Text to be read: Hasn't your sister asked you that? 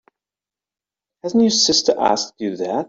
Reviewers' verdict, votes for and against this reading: accepted, 2, 0